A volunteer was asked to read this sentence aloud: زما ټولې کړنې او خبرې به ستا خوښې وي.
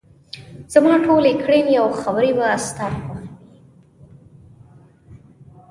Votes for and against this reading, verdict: 2, 0, accepted